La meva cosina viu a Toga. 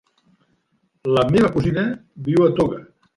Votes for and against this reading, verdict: 3, 0, accepted